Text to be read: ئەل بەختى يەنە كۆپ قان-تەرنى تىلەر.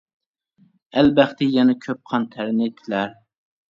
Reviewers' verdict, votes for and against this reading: accepted, 2, 0